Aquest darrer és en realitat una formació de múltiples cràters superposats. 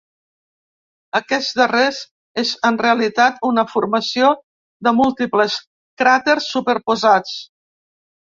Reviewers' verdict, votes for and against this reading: rejected, 0, 2